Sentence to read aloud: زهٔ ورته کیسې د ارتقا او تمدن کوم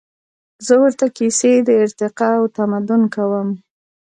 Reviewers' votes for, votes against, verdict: 2, 0, accepted